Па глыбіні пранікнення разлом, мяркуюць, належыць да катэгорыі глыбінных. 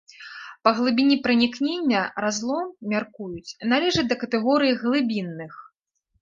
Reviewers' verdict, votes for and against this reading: accepted, 2, 0